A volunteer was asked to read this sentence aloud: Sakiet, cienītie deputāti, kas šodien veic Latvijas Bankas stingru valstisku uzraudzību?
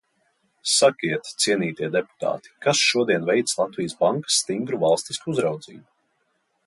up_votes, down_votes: 2, 0